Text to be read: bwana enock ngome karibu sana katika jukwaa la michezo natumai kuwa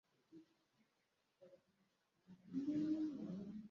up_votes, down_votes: 0, 2